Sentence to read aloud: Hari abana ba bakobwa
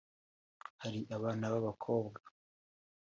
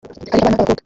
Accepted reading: first